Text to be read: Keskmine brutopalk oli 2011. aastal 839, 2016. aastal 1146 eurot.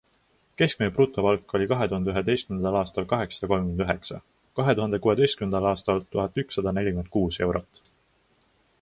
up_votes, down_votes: 0, 2